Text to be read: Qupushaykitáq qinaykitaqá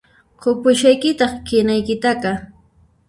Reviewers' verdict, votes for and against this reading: rejected, 0, 2